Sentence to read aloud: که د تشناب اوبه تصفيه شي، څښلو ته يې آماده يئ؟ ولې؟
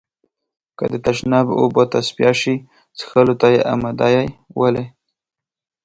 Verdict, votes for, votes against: rejected, 0, 2